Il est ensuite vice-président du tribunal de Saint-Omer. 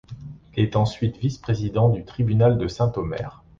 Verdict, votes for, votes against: accepted, 2, 1